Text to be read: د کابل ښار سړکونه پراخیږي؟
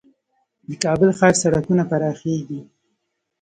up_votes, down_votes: 2, 1